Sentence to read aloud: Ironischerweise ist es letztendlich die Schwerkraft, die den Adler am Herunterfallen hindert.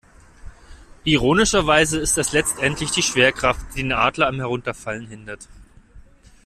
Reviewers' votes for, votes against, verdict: 0, 2, rejected